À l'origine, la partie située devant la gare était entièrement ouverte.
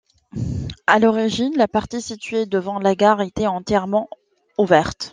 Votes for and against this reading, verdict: 2, 0, accepted